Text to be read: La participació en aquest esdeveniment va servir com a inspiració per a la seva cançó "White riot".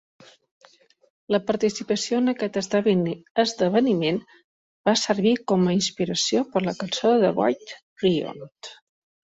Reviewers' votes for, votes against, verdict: 0, 2, rejected